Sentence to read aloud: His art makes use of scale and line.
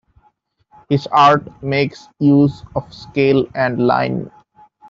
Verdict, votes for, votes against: accepted, 2, 0